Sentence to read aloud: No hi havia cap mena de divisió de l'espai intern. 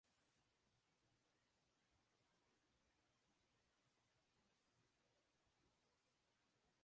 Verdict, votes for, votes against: rejected, 0, 2